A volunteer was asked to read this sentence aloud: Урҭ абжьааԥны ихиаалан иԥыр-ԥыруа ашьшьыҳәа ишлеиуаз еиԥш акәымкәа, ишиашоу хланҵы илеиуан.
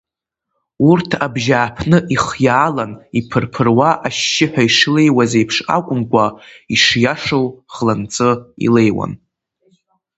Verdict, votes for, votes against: accepted, 2, 0